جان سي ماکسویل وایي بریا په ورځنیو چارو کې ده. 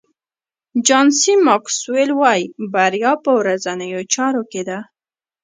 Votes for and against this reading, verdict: 1, 2, rejected